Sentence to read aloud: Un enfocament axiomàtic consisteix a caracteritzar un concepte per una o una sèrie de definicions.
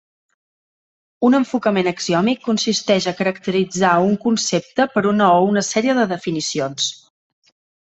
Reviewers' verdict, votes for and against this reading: rejected, 1, 2